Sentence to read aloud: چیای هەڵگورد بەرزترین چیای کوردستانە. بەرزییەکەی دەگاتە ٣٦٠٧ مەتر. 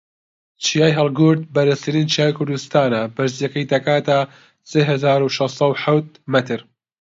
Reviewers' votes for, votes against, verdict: 0, 2, rejected